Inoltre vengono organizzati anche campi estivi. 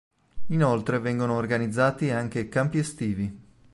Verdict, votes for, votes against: accepted, 2, 0